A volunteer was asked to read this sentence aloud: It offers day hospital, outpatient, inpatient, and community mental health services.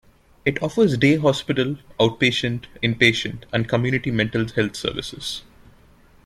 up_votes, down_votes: 2, 0